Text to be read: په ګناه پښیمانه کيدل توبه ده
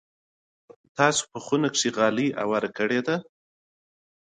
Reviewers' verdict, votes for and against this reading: rejected, 0, 2